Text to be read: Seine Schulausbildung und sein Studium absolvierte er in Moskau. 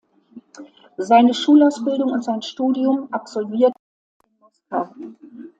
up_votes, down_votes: 0, 3